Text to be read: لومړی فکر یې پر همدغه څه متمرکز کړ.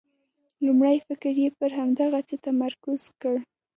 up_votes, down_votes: 2, 1